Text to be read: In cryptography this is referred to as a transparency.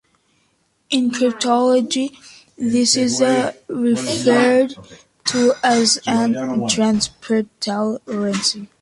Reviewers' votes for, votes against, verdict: 1, 2, rejected